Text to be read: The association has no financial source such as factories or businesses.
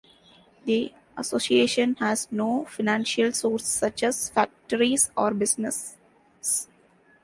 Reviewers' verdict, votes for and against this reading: rejected, 0, 2